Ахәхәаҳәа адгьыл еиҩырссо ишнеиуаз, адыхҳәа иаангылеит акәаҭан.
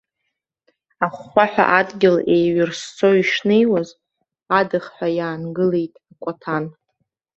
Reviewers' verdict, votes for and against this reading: rejected, 1, 3